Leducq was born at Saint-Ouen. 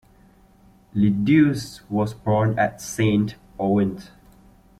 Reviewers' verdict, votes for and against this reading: rejected, 1, 2